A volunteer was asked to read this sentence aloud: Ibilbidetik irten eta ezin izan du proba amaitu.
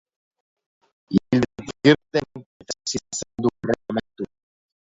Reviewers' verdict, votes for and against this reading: rejected, 0, 2